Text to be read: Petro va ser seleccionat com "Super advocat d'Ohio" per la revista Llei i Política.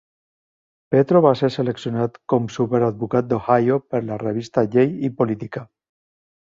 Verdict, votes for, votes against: accepted, 2, 0